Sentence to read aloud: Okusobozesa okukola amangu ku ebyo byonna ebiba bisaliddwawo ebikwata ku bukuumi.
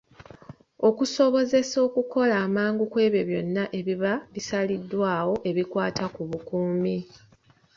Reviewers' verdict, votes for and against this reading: accepted, 2, 0